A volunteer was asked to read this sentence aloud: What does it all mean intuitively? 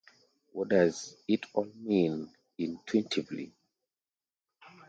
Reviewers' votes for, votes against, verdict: 1, 2, rejected